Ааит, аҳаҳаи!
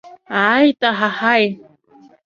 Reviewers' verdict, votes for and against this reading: accepted, 2, 1